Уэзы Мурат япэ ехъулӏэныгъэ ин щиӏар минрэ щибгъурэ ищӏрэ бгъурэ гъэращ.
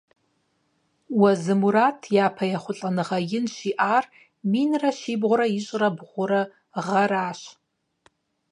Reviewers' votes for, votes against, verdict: 0, 4, rejected